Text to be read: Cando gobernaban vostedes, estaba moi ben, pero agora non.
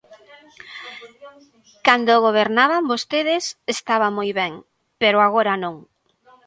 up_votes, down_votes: 2, 1